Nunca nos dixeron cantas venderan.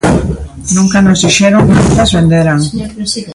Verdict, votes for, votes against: accepted, 2, 1